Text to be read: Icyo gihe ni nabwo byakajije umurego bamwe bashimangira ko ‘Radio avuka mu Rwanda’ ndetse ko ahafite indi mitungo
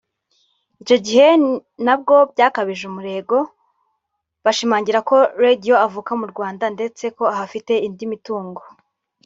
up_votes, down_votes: 0, 2